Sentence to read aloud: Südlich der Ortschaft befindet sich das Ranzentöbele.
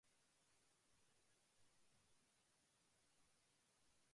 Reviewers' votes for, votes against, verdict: 0, 2, rejected